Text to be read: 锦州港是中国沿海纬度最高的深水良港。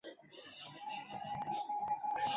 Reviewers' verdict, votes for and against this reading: rejected, 1, 2